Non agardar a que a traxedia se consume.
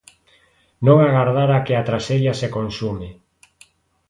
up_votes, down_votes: 2, 0